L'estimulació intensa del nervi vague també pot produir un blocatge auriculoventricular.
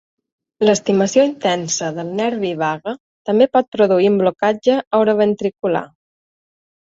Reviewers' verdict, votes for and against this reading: rejected, 1, 2